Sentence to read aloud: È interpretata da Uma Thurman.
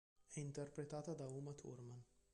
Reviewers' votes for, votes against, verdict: 2, 0, accepted